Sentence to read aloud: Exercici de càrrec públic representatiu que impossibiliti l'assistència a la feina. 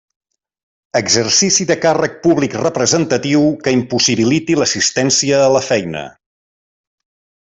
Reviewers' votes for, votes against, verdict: 3, 0, accepted